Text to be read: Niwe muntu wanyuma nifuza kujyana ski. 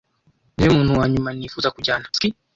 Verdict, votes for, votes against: accepted, 2, 0